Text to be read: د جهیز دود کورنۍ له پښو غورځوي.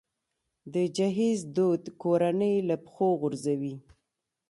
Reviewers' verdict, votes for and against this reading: accepted, 2, 0